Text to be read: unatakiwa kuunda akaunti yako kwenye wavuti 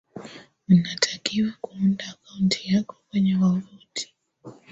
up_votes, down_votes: 0, 2